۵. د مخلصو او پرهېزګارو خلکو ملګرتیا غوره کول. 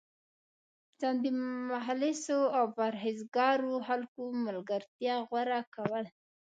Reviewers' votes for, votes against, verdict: 0, 2, rejected